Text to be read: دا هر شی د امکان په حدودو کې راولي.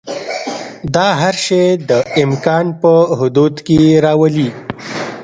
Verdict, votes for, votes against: rejected, 1, 2